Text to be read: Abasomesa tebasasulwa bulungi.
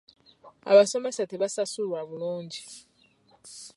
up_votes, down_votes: 2, 0